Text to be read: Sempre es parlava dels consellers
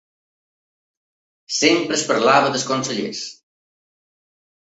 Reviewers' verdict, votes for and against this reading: accepted, 2, 0